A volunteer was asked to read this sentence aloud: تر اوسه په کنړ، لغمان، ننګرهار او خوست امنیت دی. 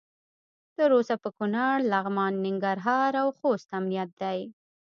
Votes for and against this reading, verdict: 2, 0, accepted